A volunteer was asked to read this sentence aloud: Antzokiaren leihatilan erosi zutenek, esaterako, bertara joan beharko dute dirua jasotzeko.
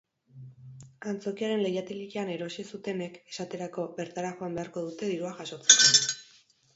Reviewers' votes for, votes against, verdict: 2, 2, rejected